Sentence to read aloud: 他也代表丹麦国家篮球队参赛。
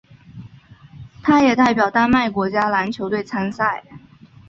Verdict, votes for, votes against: accepted, 3, 0